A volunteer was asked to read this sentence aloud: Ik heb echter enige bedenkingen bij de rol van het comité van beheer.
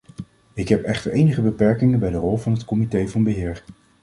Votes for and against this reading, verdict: 1, 2, rejected